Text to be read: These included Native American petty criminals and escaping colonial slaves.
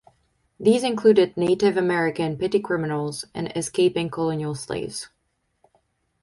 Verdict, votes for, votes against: accepted, 4, 0